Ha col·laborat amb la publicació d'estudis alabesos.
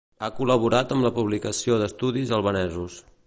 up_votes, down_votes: 0, 2